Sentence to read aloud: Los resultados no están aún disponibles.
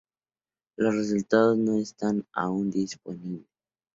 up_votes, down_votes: 0, 2